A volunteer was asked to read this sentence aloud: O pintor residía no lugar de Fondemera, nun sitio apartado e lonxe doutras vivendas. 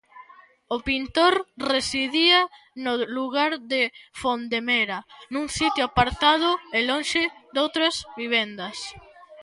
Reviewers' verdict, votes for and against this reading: rejected, 0, 2